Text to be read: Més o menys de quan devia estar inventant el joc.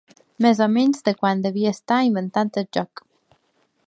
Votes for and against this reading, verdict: 1, 2, rejected